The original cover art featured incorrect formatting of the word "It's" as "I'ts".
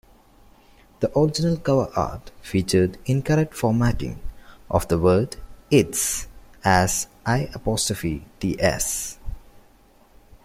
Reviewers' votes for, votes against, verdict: 1, 2, rejected